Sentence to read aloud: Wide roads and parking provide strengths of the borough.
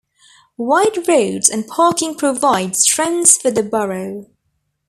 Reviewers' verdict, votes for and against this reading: rejected, 1, 2